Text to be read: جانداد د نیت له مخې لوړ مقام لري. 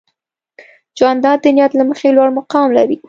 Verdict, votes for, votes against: accepted, 2, 0